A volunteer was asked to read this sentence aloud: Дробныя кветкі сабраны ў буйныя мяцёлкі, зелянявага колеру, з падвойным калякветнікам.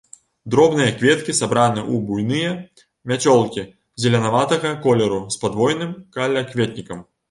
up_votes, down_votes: 1, 2